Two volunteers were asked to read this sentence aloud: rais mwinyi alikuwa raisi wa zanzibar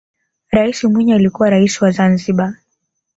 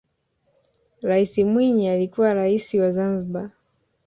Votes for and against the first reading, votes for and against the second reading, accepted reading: 1, 2, 2, 1, second